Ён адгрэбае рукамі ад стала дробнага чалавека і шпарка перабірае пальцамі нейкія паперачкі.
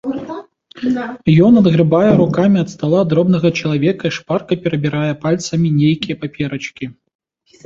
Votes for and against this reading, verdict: 2, 1, accepted